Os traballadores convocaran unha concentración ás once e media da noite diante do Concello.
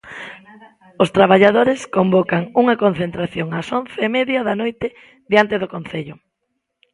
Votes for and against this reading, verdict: 1, 2, rejected